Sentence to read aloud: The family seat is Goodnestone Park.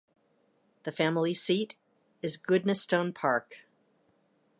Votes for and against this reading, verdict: 2, 0, accepted